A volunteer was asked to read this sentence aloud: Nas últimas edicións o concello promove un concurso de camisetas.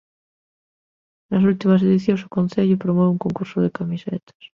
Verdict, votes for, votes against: accepted, 2, 0